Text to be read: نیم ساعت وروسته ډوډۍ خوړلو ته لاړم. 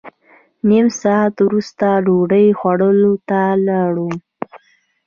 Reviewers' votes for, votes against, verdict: 2, 0, accepted